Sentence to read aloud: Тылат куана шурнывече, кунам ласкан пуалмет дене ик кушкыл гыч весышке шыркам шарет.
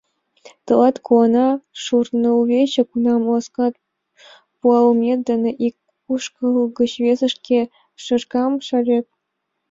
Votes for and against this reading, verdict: 0, 2, rejected